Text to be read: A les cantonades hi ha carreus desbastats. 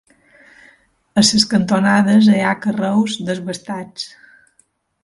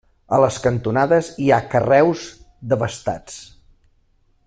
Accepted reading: first